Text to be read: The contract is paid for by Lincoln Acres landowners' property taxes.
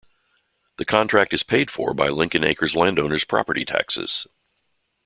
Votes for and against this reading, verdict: 2, 0, accepted